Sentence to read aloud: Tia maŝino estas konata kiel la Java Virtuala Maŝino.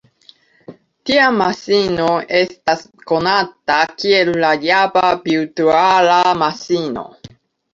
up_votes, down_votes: 1, 3